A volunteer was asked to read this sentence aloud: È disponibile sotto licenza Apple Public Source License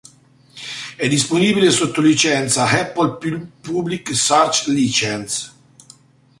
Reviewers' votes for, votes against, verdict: 0, 2, rejected